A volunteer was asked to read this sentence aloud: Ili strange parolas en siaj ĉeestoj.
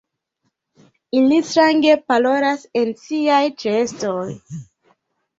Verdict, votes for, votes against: accepted, 2, 0